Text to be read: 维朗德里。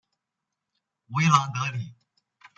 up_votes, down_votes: 2, 0